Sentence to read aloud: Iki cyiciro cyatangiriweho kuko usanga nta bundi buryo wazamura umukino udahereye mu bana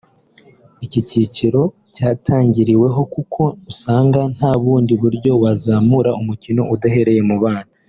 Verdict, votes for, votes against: accepted, 3, 0